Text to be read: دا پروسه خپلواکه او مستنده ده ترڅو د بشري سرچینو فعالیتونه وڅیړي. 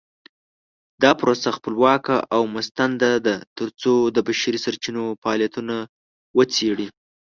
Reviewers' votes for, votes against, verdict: 0, 2, rejected